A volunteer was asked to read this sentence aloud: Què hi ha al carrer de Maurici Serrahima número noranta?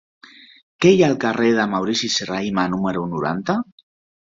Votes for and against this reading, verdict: 2, 0, accepted